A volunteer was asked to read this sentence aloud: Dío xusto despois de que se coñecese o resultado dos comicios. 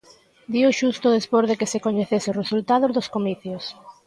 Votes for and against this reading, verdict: 1, 2, rejected